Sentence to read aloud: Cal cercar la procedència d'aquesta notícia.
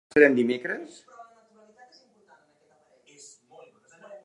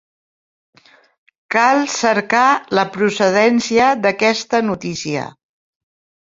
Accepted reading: second